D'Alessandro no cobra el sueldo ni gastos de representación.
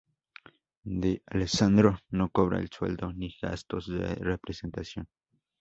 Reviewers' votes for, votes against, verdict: 4, 0, accepted